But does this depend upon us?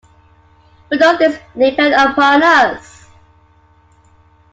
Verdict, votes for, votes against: accepted, 2, 1